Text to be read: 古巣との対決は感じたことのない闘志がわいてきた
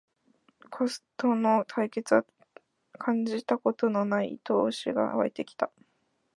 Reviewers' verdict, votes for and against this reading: rejected, 0, 2